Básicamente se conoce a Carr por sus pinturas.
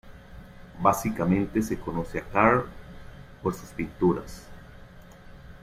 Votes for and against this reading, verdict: 0, 2, rejected